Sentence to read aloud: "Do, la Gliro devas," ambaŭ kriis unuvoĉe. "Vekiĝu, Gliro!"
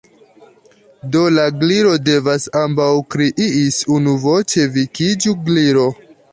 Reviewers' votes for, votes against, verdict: 1, 2, rejected